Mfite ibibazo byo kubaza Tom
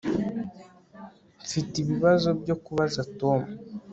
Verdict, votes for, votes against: rejected, 2, 3